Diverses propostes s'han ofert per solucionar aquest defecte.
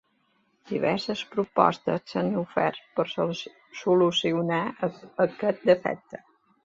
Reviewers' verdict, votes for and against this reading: rejected, 1, 2